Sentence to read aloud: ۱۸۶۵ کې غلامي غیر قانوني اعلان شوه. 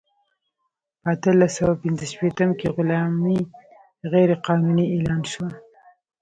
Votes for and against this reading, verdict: 0, 2, rejected